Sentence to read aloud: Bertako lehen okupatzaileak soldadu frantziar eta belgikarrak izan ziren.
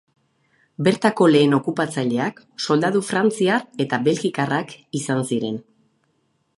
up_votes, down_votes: 2, 2